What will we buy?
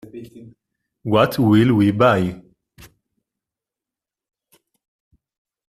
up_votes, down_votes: 2, 0